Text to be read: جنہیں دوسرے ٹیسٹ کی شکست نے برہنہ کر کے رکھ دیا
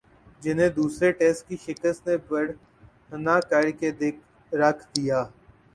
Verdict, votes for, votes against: rejected, 0, 2